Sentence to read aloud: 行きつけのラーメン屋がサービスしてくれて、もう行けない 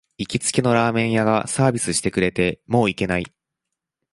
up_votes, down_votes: 2, 0